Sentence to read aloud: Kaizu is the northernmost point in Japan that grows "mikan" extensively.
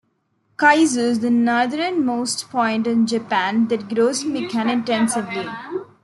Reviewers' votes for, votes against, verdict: 2, 1, accepted